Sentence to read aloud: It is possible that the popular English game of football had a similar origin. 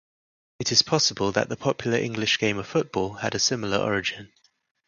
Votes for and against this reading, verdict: 4, 0, accepted